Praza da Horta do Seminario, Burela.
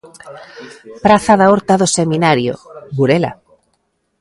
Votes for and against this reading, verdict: 2, 0, accepted